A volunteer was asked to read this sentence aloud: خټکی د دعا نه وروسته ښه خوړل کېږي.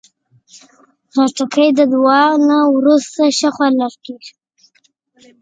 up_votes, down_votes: 2, 3